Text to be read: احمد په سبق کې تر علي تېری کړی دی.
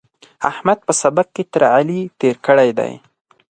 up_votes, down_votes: 0, 4